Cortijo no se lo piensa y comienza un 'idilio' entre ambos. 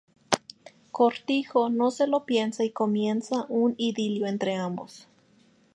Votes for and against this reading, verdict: 2, 2, rejected